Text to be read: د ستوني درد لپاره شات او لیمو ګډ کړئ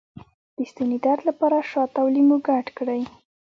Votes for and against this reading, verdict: 1, 2, rejected